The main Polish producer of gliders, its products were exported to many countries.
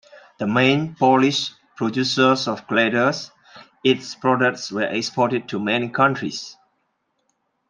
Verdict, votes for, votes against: accepted, 2, 0